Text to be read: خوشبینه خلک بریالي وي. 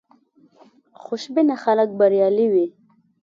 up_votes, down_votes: 2, 0